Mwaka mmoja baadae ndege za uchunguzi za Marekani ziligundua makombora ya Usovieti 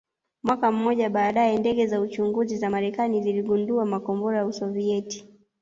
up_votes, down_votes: 0, 2